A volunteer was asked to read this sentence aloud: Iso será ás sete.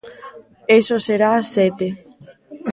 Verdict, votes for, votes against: rejected, 1, 2